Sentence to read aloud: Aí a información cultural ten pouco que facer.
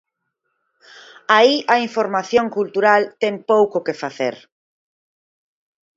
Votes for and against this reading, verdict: 6, 0, accepted